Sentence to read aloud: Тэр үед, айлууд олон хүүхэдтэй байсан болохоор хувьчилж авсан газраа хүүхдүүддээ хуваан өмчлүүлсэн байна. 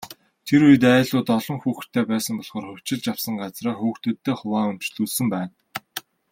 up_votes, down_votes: 2, 0